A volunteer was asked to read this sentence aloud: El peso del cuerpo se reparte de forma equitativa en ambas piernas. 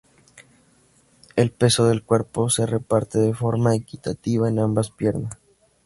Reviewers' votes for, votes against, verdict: 2, 2, rejected